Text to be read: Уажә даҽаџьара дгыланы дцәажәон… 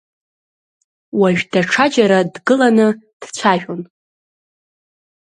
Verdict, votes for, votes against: accepted, 2, 0